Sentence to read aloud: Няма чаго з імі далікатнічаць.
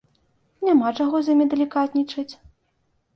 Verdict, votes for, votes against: accepted, 2, 0